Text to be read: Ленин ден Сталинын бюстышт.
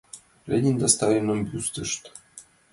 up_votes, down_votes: 2, 0